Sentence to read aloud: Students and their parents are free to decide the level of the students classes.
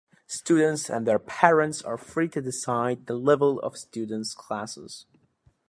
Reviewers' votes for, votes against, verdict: 2, 0, accepted